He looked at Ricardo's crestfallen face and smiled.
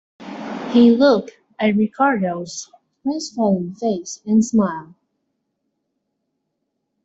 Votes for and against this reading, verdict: 2, 0, accepted